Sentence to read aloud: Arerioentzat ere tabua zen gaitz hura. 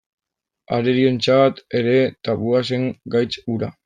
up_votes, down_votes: 0, 2